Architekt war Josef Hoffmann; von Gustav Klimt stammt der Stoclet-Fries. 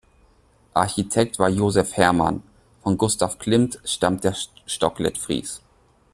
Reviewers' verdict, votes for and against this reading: rejected, 0, 2